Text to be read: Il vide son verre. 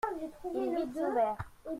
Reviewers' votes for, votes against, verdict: 0, 2, rejected